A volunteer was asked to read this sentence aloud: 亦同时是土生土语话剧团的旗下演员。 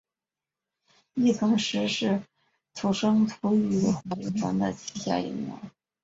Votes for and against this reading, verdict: 1, 2, rejected